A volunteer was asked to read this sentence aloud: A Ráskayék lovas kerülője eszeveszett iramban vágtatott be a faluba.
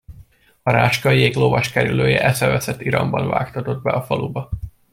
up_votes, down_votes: 2, 0